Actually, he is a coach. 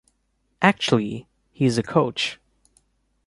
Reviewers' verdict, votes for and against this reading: accepted, 2, 0